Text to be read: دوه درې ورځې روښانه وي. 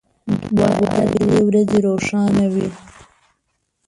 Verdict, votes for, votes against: rejected, 0, 2